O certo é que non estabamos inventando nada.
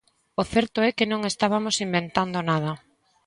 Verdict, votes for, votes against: accepted, 2, 1